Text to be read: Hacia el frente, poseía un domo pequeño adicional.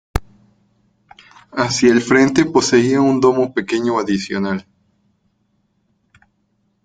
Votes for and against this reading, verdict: 2, 0, accepted